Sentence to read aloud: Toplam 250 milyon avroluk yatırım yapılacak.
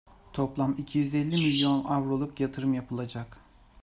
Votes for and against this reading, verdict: 0, 2, rejected